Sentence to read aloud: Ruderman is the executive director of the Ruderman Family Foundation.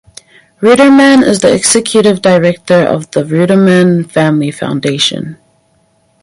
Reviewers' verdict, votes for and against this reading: accepted, 4, 0